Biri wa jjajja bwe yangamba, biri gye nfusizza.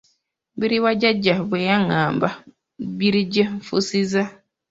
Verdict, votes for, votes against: rejected, 0, 2